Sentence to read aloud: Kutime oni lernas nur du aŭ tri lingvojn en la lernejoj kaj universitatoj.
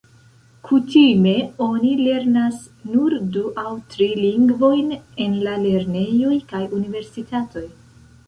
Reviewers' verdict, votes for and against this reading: rejected, 0, 2